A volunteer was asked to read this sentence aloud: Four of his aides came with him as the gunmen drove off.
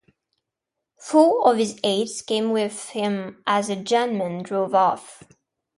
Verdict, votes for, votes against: rejected, 0, 2